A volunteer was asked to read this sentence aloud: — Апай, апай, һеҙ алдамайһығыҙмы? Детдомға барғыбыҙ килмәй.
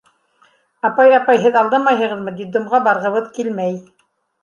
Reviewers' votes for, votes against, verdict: 2, 0, accepted